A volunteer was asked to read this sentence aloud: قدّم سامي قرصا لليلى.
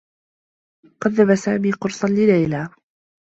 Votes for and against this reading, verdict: 2, 0, accepted